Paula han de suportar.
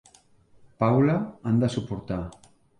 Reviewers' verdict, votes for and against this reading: accepted, 3, 0